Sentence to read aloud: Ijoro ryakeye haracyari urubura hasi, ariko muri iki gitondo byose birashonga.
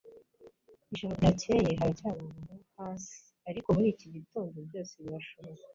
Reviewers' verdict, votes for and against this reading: rejected, 0, 2